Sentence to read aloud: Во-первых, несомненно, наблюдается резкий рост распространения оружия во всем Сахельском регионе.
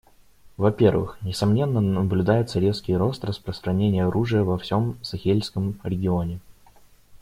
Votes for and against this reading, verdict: 2, 0, accepted